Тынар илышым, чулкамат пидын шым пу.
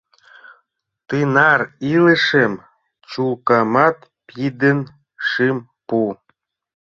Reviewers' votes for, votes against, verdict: 0, 2, rejected